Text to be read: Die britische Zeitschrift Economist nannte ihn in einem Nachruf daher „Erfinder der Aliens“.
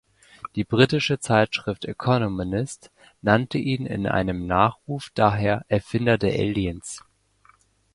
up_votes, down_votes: 1, 2